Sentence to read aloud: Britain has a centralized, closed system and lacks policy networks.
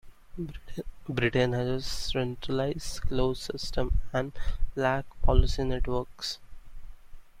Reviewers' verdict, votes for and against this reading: rejected, 0, 2